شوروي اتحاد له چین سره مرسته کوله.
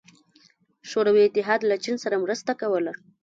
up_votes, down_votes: 1, 2